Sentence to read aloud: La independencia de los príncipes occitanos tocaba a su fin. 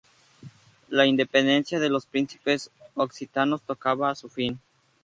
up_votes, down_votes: 2, 0